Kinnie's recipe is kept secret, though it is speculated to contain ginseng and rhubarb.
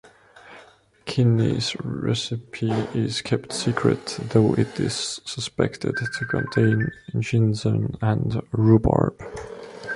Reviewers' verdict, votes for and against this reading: rejected, 1, 2